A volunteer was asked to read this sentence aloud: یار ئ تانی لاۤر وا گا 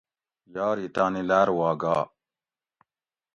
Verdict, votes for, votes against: accepted, 2, 0